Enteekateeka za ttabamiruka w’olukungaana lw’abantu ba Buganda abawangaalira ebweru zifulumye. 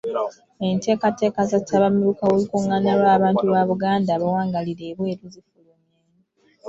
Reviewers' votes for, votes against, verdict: 2, 1, accepted